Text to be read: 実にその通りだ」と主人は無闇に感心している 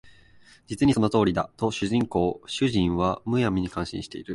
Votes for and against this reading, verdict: 0, 4, rejected